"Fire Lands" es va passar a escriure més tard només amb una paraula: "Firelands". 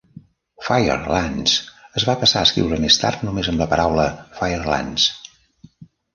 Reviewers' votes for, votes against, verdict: 0, 2, rejected